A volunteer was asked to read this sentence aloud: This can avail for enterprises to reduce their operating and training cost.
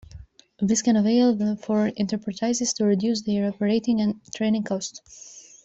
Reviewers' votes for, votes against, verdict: 0, 2, rejected